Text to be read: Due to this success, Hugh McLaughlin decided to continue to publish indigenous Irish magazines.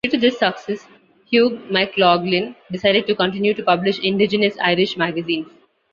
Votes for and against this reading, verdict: 1, 2, rejected